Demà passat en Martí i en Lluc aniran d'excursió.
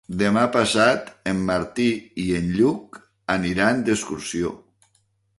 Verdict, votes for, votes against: accepted, 2, 0